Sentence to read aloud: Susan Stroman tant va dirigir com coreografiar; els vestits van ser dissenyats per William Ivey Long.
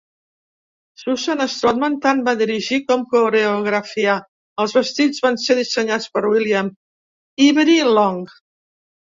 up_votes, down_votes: 0, 2